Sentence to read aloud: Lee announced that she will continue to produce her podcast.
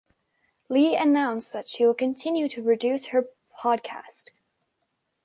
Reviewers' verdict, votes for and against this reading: rejected, 2, 3